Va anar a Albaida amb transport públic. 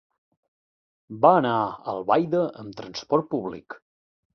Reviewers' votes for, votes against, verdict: 2, 0, accepted